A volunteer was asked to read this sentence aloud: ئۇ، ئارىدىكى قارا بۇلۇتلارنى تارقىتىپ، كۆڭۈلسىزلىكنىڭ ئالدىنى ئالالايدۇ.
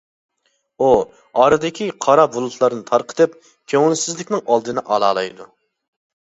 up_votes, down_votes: 3, 0